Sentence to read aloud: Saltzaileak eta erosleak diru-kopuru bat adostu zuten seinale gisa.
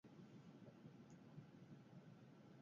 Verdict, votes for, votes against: rejected, 0, 2